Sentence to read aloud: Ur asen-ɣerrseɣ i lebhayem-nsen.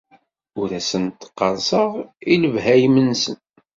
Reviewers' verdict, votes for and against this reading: rejected, 1, 2